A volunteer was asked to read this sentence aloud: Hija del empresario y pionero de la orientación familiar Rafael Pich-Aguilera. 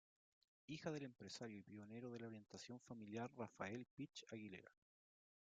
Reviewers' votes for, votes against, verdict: 1, 2, rejected